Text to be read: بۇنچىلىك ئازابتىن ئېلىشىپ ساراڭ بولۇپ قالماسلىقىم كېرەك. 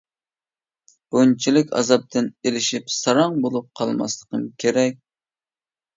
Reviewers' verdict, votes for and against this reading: accepted, 2, 0